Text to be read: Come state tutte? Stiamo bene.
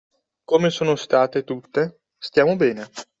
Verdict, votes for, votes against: rejected, 1, 2